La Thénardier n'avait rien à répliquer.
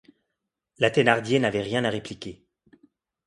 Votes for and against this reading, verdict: 2, 0, accepted